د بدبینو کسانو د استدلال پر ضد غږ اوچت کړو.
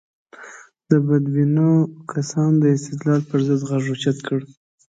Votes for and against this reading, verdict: 2, 0, accepted